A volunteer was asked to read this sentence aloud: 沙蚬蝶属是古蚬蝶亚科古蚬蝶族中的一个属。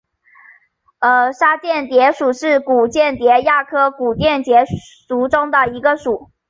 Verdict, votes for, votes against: accepted, 5, 1